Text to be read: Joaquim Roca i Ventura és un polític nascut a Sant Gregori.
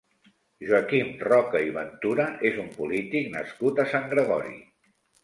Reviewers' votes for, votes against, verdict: 2, 0, accepted